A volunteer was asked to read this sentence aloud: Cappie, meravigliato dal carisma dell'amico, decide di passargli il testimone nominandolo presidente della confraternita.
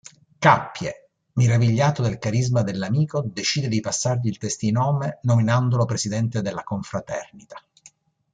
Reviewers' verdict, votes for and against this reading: rejected, 0, 2